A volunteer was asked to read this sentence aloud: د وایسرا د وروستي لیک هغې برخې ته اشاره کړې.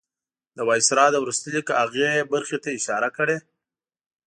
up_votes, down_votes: 4, 0